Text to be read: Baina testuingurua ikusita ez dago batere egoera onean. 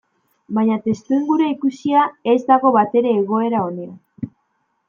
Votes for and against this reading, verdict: 1, 2, rejected